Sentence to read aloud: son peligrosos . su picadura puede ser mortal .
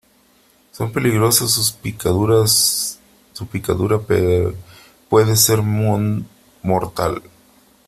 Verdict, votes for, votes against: rejected, 0, 2